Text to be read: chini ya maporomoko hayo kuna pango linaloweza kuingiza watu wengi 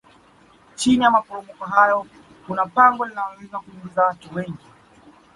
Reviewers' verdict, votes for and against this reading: accepted, 2, 0